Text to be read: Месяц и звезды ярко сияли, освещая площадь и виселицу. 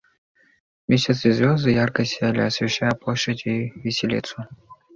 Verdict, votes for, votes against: accepted, 2, 1